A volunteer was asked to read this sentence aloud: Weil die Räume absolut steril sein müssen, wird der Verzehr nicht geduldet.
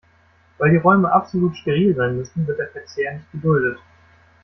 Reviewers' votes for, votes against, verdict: 2, 0, accepted